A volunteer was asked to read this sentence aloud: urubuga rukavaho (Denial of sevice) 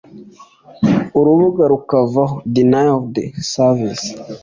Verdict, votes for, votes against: accepted, 2, 0